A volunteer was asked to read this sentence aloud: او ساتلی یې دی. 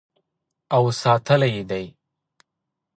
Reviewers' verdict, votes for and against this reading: accepted, 3, 0